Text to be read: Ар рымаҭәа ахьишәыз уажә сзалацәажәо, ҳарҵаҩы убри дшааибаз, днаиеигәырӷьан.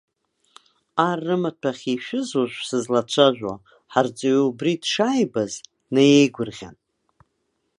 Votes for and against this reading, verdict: 1, 2, rejected